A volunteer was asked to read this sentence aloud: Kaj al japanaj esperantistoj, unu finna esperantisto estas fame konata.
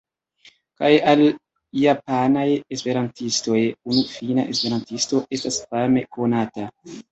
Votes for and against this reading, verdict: 1, 2, rejected